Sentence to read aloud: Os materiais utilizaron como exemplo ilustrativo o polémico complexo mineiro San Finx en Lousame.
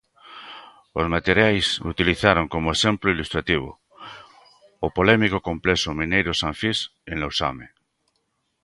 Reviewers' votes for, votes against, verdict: 2, 1, accepted